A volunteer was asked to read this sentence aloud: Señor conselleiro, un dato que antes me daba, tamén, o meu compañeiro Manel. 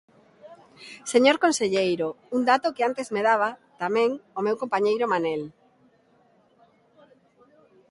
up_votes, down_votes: 2, 0